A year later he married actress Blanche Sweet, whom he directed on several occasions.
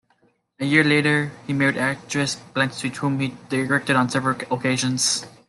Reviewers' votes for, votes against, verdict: 2, 1, accepted